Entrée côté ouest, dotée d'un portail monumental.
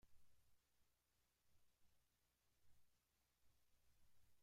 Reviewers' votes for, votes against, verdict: 0, 2, rejected